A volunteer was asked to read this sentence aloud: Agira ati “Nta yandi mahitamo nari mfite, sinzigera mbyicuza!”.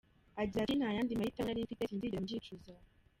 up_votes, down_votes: 0, 2